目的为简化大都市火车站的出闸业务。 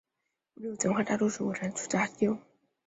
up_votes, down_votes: 0, 2